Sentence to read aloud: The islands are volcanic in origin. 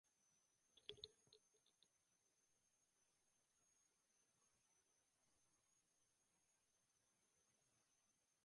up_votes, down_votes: 0, 2